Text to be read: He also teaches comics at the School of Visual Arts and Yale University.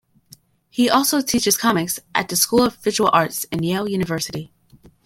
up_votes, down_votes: 1, 2